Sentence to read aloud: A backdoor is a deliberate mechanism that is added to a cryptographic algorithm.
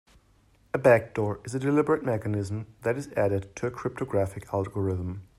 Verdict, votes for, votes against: accepted, 2, 0